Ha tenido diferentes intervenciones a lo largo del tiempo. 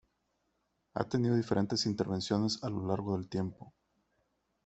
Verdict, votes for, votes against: accepted, 2, 1